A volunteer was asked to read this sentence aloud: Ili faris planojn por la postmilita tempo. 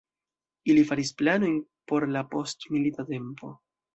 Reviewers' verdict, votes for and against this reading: accepted, 2, 1